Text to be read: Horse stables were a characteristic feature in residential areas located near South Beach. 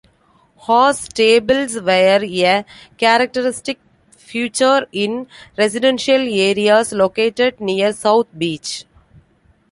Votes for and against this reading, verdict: 2, 1, accepted